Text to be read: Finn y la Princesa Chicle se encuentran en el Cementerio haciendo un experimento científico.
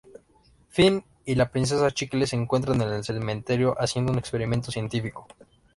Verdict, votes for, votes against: accepted, 2, 0